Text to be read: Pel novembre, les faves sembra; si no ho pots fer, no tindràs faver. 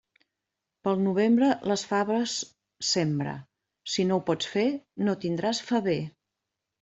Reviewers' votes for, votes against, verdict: 2, 0, accepted